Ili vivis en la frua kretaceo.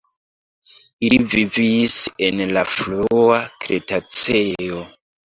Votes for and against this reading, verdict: 1, 2, rejected